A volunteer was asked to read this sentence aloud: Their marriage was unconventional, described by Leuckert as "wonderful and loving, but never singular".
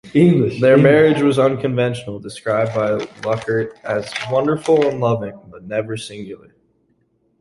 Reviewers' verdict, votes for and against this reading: rejected, 0, 2